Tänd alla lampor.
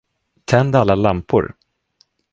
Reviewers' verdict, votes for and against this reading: accepted, 2, 0